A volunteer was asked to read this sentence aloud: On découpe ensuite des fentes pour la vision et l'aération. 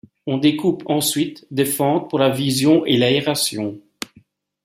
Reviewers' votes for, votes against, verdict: 2, 0, accepted